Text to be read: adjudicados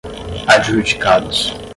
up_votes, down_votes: 5, 5